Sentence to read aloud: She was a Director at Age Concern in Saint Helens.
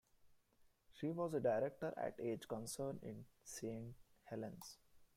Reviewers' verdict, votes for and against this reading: accepted, 2, 1